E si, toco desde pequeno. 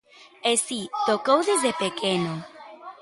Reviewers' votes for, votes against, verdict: 0, 2, rejected